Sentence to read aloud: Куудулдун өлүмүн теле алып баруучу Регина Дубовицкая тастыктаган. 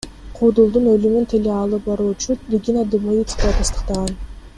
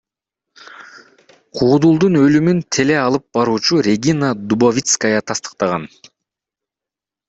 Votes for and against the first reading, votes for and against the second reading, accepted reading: 2, 0, 1, 2, first